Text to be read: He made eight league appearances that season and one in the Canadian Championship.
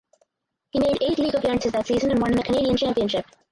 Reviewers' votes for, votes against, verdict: 2, 4, rejected